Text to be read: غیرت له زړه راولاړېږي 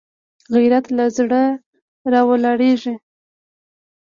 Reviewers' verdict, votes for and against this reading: accepted, 3, 1